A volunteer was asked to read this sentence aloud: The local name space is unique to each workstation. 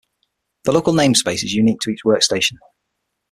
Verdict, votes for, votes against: accepted, 6, 0